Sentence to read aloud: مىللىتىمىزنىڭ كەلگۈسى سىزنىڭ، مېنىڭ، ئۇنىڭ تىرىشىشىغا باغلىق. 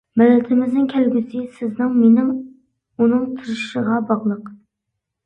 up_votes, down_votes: 2, 0